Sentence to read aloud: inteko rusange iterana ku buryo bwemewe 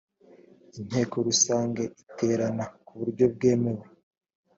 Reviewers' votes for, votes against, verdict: 2, 0, accepted